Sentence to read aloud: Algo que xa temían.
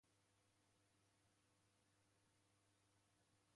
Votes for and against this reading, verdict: 0, 2, rejected